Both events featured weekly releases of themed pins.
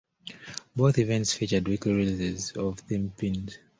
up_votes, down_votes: 0, 2